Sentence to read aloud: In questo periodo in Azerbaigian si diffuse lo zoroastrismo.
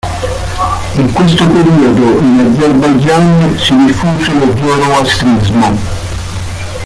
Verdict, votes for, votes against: rejected, 1, 2